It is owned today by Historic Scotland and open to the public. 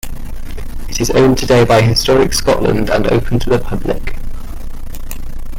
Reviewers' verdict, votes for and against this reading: accepted, 2, 0